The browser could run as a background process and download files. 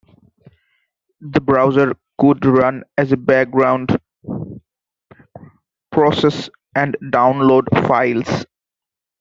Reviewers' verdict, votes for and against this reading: rejected, 0, 2